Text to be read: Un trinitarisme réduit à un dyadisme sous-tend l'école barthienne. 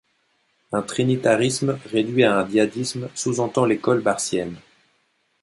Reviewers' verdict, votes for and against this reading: rejected, 1, 2